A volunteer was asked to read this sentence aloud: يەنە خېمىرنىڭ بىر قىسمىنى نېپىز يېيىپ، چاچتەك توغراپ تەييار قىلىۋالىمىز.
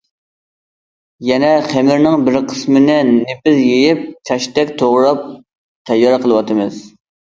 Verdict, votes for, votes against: rejected, 0, 2